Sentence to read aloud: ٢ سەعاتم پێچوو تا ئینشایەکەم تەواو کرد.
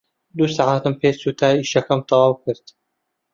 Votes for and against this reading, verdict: 0, 2, rejected